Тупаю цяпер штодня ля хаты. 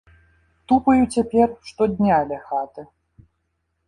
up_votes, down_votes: 2, 0